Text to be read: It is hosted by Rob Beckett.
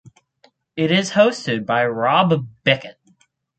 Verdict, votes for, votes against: accepted, 4, 0